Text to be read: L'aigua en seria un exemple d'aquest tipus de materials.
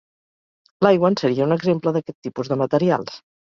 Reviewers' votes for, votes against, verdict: 2, 0, accepted